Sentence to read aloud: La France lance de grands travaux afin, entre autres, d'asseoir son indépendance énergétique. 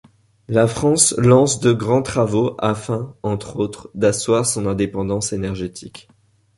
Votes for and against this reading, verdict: 2, 0, accepted